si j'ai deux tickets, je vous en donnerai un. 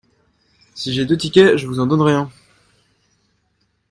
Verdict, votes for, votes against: accepted, 2, 0